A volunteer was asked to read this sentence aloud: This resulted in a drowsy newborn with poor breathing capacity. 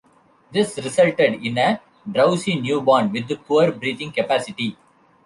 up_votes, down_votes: 2, 3